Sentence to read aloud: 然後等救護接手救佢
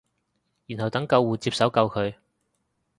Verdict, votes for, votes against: accepted, 3, 0